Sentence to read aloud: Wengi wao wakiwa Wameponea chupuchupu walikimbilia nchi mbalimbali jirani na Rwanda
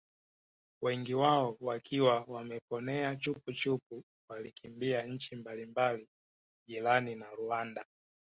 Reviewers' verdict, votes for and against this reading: rejected, 0, 2